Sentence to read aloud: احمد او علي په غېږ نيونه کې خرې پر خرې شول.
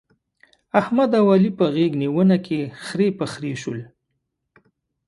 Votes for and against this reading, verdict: 2, 0, accepted